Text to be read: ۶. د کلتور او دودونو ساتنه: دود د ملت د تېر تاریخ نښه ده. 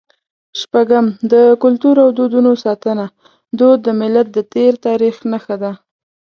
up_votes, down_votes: 0, 2